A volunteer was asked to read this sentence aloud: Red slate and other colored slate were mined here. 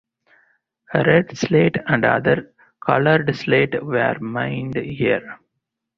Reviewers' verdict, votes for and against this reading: accepted, 4, 0